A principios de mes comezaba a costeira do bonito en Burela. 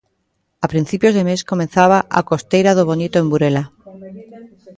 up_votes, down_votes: 2, 0